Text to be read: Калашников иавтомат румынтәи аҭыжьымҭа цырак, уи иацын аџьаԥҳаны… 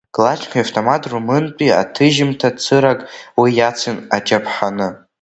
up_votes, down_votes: 0, 2